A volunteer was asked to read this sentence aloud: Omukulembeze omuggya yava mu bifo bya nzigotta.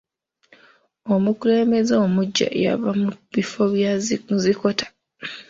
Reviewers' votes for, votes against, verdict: 0, 2, rejected